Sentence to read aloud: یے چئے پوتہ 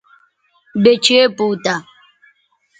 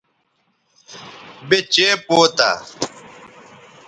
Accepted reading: second